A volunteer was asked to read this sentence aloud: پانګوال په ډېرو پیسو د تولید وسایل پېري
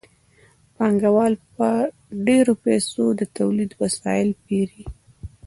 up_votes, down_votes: 1, 2